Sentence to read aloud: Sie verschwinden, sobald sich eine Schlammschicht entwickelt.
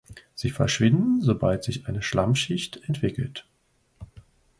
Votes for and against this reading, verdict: 2, 0, accepted